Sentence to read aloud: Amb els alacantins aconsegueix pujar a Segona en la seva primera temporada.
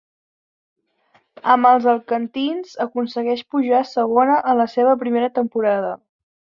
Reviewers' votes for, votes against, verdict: 0, 2, rejected